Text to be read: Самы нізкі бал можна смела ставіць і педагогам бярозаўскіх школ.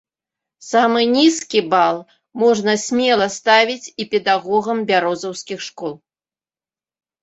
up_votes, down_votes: 2, 0